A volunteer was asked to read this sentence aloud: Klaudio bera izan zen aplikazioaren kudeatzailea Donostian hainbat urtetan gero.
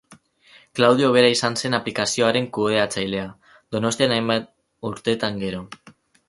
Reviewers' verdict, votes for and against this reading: accepted, 4, 0